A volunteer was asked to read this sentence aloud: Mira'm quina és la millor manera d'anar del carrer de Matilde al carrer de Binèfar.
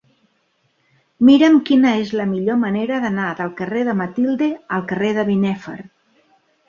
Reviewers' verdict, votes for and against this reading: accepted, 2, 1